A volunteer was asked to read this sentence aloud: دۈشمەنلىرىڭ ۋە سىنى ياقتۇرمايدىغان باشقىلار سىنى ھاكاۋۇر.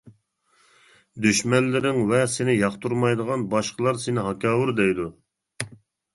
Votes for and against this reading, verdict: 0, 2, rejected